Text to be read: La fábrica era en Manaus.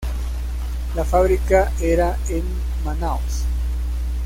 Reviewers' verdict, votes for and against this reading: rejected, 1, 2